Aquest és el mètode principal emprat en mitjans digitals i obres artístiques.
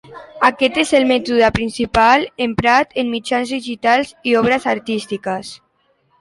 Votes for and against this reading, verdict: 3, 0, accepted